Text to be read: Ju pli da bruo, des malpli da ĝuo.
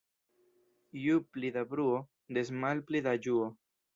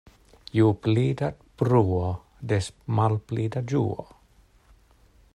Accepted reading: second